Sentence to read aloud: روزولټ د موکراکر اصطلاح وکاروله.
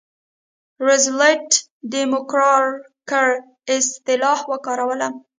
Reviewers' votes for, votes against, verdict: 0, 2, rejected